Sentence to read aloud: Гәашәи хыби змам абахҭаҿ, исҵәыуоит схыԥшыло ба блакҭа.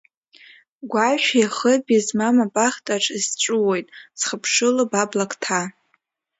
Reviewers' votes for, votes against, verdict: 2, 1, accepted